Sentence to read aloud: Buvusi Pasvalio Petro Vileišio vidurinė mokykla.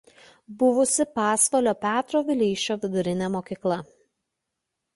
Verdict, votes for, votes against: accepted, 2, 0